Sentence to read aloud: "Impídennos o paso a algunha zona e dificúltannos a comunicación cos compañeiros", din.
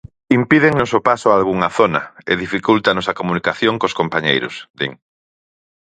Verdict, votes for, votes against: accepted, 4, 0